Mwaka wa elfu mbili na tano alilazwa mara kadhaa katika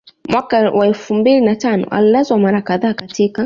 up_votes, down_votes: 2, 0